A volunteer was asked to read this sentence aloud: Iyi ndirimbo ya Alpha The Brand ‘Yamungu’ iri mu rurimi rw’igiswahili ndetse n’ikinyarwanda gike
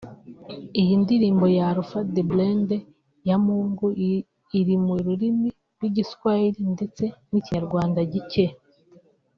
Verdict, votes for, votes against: rejected, 0, 2